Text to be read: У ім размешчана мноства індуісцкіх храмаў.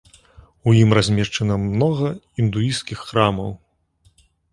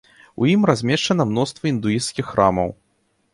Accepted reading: second